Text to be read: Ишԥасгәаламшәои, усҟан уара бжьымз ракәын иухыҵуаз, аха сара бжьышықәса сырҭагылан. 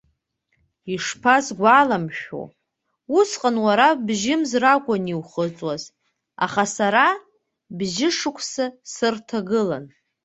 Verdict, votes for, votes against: accepted, 2, 0